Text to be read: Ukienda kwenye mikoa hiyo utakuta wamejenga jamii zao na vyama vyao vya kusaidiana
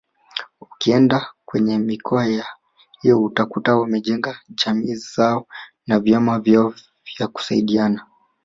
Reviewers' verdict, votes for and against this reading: rejected, 0, 2